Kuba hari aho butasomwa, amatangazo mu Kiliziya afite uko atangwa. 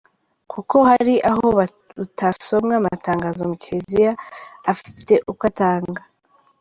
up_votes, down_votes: 0, 2